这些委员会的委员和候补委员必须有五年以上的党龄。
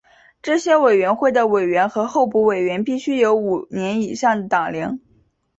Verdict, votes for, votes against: accepted, 3, 0